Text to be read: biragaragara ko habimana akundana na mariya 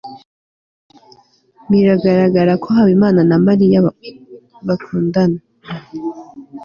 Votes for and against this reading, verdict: 1, 2, rejected